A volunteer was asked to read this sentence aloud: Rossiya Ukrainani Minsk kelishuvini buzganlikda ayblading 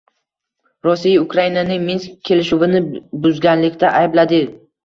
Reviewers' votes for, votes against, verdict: 1, 2, rejected